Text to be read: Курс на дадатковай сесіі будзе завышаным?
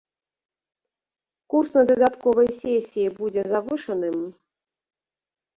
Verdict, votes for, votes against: accepted, 2, 0